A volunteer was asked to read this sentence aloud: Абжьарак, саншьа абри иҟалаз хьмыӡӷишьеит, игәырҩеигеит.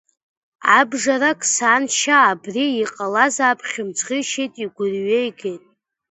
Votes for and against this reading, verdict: 1, 2, rejected